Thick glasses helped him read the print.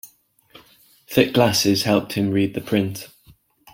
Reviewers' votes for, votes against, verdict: 2, 0, accepted